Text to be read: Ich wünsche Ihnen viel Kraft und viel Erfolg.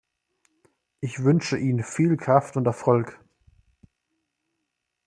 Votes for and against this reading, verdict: 0, 2, rejected